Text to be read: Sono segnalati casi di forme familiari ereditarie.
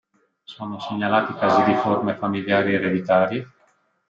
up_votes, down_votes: 1, 2